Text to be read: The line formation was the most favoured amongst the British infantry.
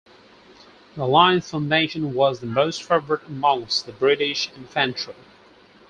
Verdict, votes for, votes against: rejected, 0, 4